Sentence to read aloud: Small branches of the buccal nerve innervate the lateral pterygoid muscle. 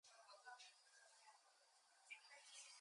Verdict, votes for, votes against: rejected, 0, 4